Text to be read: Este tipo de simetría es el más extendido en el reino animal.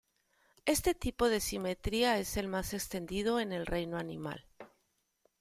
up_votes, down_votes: 1, 2